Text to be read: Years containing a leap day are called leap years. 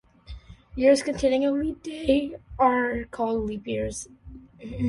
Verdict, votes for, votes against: accepted, 2, 1